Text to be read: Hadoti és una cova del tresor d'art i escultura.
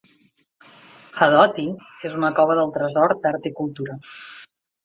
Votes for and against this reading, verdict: 0, 2, rejected